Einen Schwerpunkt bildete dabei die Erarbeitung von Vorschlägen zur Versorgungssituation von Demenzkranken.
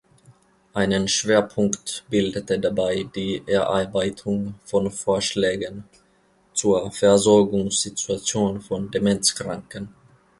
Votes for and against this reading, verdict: 1, 2, rejected